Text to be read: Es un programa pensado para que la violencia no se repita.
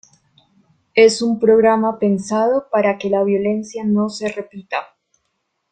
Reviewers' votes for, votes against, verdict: 2, 0, accepted